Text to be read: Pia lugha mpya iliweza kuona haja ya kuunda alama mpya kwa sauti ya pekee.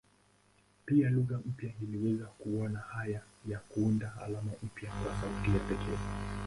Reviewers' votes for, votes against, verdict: 0, 2, rejected